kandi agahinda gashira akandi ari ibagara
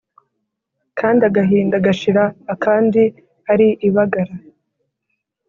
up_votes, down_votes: 3, 0